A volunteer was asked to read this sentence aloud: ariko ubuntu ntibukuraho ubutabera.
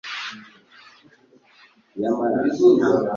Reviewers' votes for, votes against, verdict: 2, 0, accepted